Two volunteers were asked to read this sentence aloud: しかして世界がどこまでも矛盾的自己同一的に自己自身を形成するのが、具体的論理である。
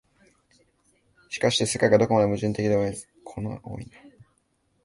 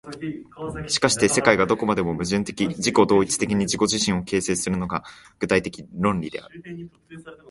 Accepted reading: second